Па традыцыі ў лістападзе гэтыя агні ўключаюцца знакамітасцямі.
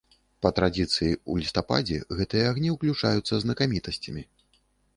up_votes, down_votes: 0, 2